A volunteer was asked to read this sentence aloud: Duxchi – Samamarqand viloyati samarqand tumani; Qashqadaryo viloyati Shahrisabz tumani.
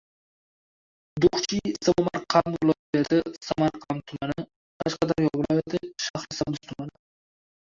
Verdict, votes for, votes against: rejected, 0, 2